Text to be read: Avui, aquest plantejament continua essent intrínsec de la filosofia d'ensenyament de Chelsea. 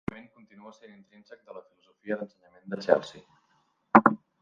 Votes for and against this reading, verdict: 0, 2, rejected